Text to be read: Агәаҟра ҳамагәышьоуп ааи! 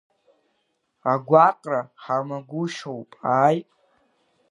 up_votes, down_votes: 2, 0